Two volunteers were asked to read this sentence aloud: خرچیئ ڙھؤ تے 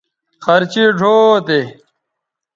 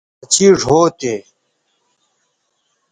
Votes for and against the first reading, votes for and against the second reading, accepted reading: 2, 0, 1, 2, first